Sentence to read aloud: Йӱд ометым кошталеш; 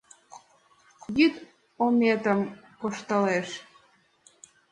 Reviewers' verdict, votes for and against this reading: accepted, 2, 0